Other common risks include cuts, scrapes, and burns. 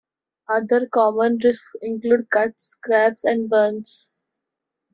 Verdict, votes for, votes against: rejected, 0, 2